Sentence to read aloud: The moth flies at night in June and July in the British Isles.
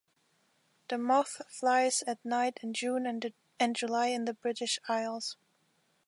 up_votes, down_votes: 0, 2